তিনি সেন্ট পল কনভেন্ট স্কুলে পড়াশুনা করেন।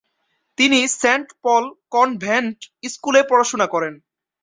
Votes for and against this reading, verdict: 1, 2, rejected